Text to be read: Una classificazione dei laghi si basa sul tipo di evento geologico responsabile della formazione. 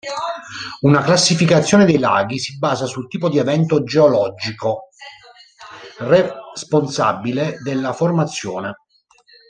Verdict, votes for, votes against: rejected, 0, 2